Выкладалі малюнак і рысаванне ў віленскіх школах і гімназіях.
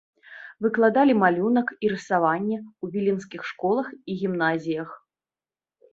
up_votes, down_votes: 2, 0